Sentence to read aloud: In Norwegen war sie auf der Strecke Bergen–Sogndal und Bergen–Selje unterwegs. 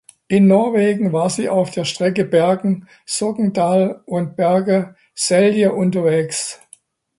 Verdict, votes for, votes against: rejected, 1, 2